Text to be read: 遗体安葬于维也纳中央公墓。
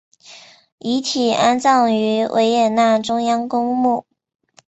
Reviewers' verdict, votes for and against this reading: accepted, 2, 0